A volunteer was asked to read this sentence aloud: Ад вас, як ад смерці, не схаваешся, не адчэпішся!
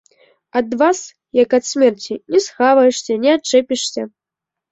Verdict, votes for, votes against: rejected, 1, 2